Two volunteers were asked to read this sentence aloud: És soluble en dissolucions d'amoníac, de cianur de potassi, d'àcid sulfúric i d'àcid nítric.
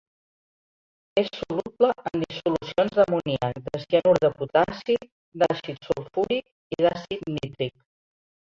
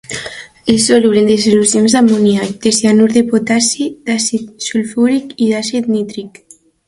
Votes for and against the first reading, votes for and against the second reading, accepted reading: 0, 2, 2, 0, second